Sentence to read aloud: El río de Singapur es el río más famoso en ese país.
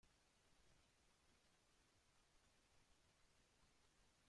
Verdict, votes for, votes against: rejected, 0, 2